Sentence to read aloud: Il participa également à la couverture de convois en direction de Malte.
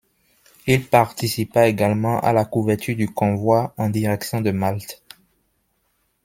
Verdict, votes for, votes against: rejected, 0, 2